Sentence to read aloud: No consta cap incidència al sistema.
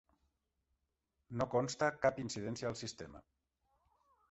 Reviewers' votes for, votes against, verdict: 3, 0, accepted